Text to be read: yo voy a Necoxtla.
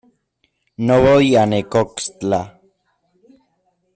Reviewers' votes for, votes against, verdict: 0, 2, rejected